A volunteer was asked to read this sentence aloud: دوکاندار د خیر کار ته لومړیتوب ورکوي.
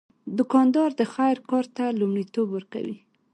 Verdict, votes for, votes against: accepted, 2, 1